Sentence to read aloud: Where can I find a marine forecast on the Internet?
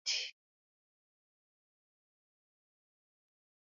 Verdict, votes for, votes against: rejected, 0, 2